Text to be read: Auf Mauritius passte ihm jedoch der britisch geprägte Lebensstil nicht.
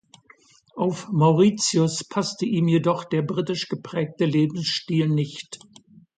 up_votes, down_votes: 2, 0